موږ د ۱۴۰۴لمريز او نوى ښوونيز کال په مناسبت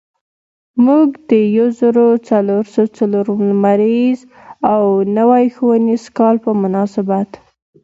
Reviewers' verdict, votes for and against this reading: rejected, 0, 2